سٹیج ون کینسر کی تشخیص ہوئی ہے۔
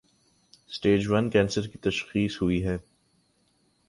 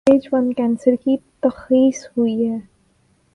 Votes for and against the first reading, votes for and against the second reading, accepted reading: 2, 0, 3, 6, first